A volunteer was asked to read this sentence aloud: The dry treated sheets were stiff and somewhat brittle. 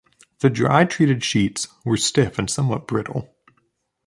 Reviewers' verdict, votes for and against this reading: accepted, 2, 0